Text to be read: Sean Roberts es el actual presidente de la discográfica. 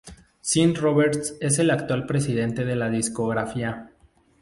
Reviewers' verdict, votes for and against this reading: rejected, 0, 2